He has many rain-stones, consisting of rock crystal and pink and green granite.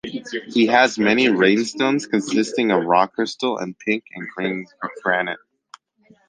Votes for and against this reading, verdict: 2, 1, accepted